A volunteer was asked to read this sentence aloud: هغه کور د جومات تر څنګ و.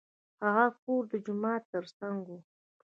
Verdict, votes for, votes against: rejected, 0, 2